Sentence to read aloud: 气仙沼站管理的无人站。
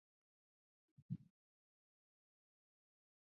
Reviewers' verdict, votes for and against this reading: rejected, 0, 2